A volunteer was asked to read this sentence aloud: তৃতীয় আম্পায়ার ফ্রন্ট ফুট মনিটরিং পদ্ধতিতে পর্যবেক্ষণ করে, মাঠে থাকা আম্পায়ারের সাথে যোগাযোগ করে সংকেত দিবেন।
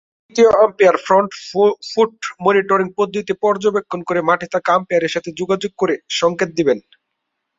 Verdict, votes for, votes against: rejected, 4, 6